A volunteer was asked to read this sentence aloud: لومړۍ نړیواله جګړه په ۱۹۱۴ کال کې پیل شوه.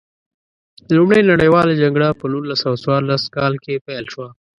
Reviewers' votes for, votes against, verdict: 0, 2, rejected